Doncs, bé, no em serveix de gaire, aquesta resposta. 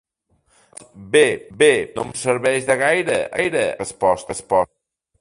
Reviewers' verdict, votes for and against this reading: rejected, 0, 2